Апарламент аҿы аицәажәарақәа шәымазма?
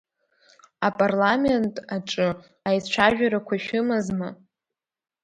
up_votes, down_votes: 2, 0